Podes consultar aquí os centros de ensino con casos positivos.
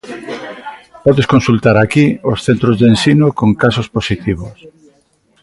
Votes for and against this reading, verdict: 1, 2, rejected